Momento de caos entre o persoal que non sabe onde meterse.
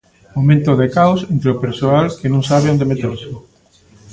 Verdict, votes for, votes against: rejected, 1, 2